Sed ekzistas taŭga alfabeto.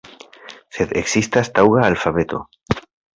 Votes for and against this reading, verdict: 2, 1, accepted